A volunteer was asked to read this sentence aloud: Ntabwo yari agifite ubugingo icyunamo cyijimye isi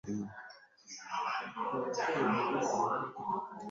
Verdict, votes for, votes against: rejected, 1, 2